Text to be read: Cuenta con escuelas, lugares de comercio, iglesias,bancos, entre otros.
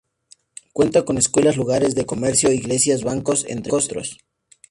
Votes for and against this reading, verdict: 0, 2, rejected